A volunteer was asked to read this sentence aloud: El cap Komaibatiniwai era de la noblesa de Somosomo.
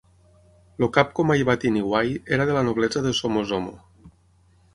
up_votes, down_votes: 0, 6